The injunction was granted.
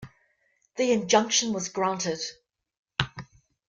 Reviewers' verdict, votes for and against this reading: accepted, 2, 0